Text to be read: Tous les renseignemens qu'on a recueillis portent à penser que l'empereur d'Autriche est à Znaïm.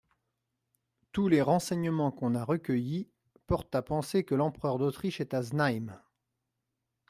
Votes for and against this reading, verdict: 2, 0, accepted